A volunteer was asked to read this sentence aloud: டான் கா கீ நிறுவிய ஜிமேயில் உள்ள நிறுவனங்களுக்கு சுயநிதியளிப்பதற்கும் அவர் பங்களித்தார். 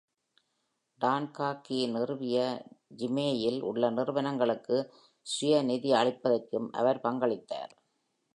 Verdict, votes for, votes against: accepted, 2, 0